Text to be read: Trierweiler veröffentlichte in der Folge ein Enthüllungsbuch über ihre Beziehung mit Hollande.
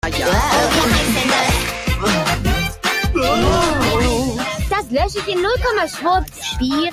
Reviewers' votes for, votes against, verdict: 0, 2, rejected